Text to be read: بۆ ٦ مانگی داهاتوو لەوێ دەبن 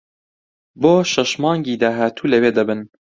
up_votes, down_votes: 0, 2